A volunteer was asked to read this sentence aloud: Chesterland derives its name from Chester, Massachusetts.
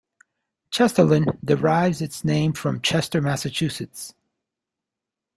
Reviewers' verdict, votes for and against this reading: accepted, 2, 0